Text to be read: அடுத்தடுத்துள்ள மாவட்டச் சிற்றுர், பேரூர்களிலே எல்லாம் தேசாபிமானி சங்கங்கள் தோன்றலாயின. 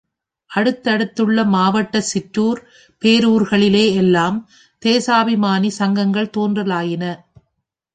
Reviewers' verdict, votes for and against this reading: accepted, 3, 0